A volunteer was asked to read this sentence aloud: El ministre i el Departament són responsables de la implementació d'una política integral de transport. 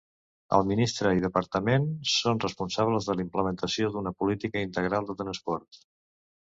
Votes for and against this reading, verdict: 0, 2, rejected